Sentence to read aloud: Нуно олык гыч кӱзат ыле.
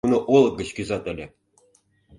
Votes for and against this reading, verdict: 1, 2, rejected